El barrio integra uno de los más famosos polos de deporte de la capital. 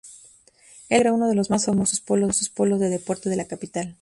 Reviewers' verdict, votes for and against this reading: rejected, 0, 2